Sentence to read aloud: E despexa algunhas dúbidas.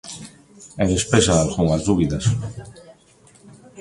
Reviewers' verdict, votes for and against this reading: rejected, 1, 2